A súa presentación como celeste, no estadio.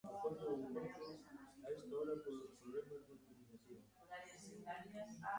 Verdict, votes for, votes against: rejected, 0, 2